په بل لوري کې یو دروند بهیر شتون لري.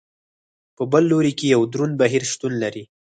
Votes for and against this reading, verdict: 4, 2, accepted